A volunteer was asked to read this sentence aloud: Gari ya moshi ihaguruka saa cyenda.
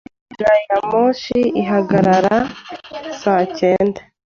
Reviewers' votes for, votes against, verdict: 1, 2, rejected